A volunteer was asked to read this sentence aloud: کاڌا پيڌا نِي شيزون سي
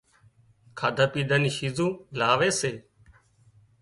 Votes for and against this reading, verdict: 0, 2, rejected